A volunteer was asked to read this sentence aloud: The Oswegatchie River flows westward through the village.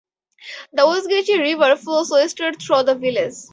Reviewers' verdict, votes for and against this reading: accepted, 4, 0